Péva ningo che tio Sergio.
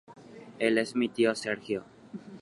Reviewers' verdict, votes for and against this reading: rejected, 2, 3